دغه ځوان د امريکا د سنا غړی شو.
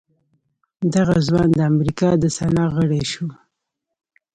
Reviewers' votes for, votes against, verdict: 2, 0, accepted